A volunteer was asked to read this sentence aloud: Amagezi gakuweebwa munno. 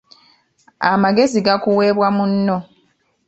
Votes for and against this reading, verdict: 2, 0, accepted